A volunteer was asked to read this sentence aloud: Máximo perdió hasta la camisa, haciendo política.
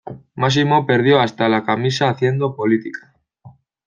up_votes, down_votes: 2, 0